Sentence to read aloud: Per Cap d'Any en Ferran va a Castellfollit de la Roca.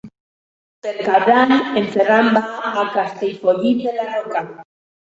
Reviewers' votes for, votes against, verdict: 2, 1, accepted